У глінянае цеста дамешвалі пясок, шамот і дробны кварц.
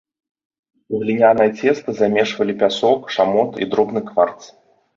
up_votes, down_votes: 1, 2